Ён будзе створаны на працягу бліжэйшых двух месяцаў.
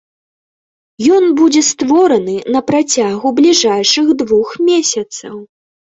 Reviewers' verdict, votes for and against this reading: rejected, 0, 2